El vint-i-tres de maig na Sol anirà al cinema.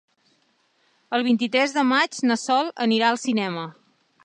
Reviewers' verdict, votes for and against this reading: accepted, 3, 0